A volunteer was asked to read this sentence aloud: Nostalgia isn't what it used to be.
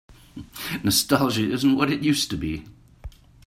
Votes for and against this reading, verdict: 2, 0, accepted